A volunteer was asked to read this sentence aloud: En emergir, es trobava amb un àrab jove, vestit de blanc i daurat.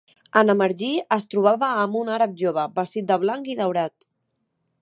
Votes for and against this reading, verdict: 3, 1, accepted